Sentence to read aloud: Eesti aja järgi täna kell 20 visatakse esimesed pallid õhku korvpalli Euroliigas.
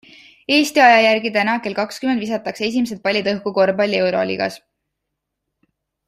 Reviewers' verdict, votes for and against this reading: rejected, 0, 2